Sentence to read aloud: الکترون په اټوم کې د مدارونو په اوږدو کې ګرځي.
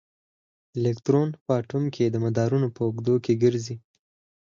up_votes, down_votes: 4, 0